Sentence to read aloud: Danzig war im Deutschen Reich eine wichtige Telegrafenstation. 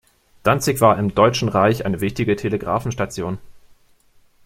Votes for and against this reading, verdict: 2, 0, accepted